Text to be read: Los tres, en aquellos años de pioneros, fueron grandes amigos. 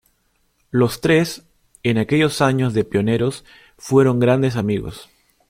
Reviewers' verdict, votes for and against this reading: accepted, 2, 0